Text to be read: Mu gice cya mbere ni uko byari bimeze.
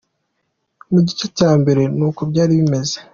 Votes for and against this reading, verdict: 2, 0, accepted